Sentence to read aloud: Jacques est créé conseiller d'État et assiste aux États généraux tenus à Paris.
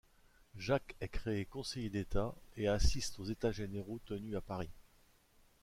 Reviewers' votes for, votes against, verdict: 2, 0, accepted